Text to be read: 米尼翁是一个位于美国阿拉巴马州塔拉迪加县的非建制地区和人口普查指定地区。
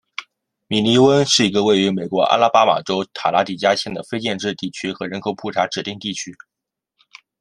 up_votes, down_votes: 2, 0